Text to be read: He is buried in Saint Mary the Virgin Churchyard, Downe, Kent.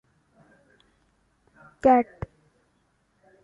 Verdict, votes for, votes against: rejected, 0, 2